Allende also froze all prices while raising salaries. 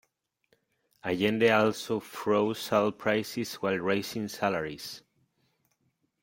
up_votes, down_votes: 2, 0